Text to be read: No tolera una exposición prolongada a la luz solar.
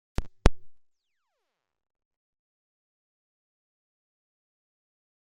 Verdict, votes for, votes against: rejected, 0, 2